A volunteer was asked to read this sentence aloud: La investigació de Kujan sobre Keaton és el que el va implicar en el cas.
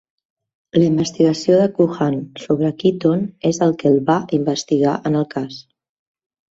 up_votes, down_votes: 1, 3